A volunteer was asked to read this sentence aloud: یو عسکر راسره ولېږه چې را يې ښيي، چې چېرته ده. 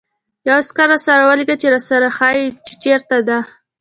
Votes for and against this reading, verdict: 2, 0, accepted